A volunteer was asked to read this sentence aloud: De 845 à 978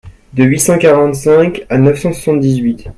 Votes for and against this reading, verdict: 0, 2, rejected